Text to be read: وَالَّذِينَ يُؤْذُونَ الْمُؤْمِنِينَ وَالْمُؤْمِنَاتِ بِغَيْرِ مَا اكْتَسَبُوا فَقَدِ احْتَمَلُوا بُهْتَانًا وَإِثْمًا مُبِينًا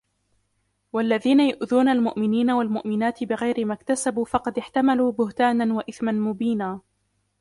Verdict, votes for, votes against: accepted, 2, 0